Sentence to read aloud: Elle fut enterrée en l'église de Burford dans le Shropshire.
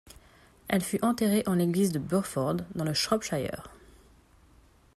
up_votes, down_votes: 2, 0